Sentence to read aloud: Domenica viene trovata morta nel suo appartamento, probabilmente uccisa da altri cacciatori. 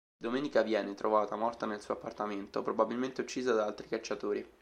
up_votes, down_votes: 2, 0